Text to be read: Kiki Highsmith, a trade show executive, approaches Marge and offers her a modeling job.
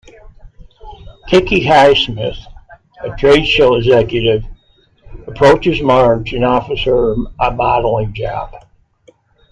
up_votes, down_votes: 2, 0